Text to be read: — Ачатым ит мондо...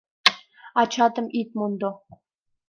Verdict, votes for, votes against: accepted, 2, 0